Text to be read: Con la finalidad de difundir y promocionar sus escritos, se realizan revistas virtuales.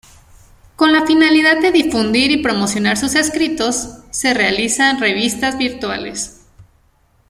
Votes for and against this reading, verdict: 2, 0, accepted